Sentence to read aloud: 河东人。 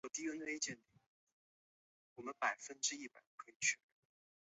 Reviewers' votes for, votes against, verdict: 0, 2, rejected